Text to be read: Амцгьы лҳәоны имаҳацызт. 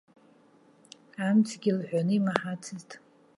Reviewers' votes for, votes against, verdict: 2, 0, accepted